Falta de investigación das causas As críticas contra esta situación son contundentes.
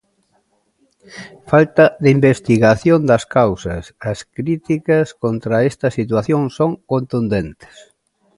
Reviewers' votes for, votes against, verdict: 2, 0, accepted